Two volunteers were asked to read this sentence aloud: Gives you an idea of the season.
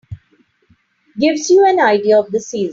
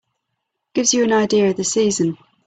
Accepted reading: second